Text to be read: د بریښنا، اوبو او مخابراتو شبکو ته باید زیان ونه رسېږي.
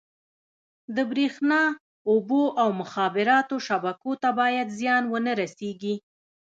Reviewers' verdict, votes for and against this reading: rejected, 1, 2